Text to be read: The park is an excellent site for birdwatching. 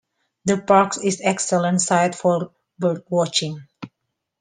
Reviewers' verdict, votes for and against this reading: rejected, 0, 2